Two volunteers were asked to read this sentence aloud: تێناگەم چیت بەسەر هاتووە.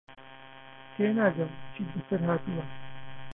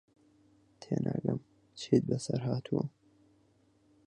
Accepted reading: second